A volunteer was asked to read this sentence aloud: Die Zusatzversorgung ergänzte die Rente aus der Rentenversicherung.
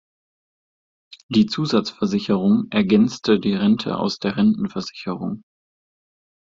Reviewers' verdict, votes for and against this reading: rejected, 0, 2